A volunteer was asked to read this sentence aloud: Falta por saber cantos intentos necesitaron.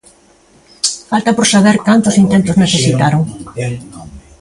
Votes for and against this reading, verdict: 2, 1, accepted